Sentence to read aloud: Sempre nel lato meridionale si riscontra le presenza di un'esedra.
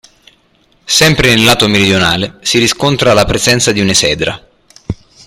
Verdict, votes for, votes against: rejected, 0, 2